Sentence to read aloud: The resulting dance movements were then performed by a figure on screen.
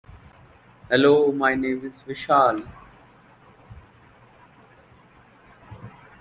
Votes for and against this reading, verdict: 0, 2, rejected